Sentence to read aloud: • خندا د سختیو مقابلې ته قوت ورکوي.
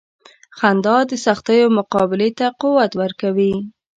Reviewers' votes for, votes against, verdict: 2, 0, accepted